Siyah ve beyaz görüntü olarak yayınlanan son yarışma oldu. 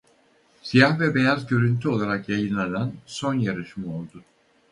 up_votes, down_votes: 2, 2